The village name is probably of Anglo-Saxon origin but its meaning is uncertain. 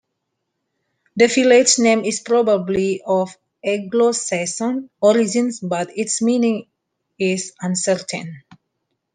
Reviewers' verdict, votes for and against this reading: rejected, 1, 2